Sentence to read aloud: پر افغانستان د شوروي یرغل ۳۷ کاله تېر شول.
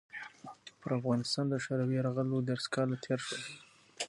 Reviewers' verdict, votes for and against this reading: rejected, 0, 2